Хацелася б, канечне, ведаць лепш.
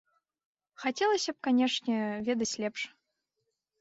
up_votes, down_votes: 2, 0